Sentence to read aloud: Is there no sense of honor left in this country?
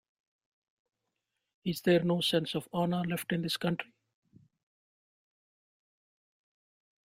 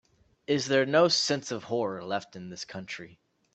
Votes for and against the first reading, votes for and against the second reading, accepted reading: 2, 1, 0, 3, first